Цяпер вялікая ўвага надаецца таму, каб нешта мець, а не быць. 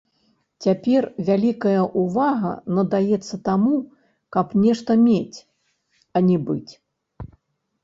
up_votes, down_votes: 1, 2